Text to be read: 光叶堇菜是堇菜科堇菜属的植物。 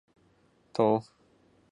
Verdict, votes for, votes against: rejected, 0, 3